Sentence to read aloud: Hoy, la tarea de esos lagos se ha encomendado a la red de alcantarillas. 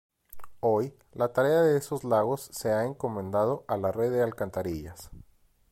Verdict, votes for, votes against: accepted, 2, 0